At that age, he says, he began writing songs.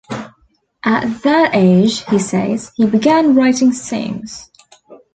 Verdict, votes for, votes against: rejected, 0, 2